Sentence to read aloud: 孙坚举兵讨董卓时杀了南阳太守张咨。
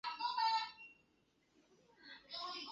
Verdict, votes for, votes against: rejected, 1, 2